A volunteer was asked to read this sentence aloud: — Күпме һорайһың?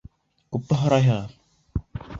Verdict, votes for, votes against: accepted, 2, 0